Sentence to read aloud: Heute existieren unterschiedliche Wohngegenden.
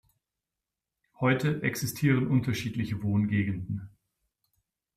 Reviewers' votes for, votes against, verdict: 2, 0, accepted